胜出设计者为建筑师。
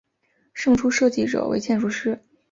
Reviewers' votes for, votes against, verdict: 4, 0, accepted